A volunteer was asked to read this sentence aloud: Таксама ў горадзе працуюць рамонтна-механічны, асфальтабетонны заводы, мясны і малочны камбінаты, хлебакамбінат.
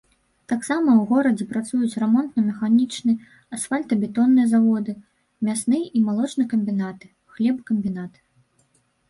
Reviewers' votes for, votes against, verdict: 2, 0, accepted